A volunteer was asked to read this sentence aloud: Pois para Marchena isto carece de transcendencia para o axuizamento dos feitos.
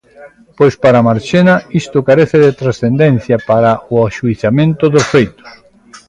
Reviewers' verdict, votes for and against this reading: accepted, 2, 1